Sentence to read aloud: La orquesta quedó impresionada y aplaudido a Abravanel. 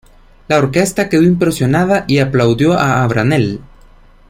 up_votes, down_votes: 0, 2